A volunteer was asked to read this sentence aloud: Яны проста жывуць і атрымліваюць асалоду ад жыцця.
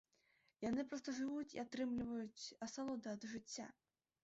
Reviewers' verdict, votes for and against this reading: rejected, 1, 2